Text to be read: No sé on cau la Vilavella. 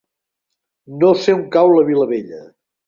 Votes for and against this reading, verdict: 3, 0, accepted